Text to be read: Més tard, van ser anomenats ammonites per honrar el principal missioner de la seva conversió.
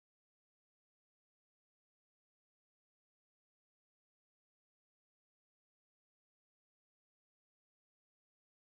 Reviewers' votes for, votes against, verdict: 0, 2, rejected